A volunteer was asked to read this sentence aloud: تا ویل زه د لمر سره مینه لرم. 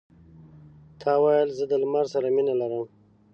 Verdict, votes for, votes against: accepted, 2, 0